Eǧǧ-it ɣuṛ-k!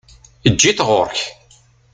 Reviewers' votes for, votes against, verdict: 2, 0, accepted